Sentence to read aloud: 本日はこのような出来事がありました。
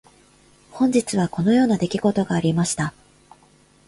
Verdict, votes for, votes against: accepted, 2, 0